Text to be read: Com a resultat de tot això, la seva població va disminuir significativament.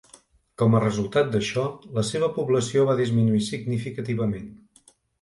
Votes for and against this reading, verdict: 0, 2, rejected